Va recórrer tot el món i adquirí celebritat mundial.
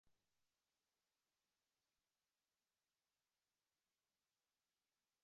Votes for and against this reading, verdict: 1, 2, rejected